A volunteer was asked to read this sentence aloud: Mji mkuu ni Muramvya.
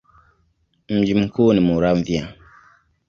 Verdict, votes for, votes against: accepted, 2, 0